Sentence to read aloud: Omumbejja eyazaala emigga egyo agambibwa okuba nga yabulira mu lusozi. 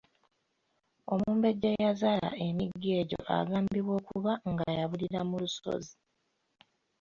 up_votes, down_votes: 2, 0